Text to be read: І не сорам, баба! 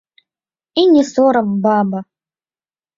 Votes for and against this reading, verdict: 1, 3, rejected